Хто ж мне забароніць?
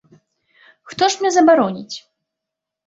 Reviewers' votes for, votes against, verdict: 0, 2, rejected